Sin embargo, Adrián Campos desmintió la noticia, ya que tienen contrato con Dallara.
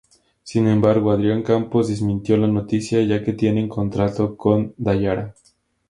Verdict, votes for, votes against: accepted, 2, 0